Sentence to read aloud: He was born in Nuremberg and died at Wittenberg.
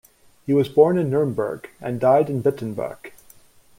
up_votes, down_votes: 2, 0